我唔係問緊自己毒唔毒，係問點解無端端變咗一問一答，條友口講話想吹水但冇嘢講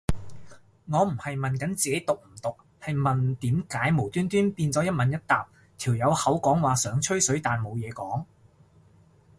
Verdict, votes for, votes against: accepted, 2, 0